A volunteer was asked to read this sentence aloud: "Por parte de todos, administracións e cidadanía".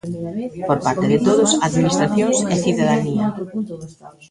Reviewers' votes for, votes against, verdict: 1, 2, rejected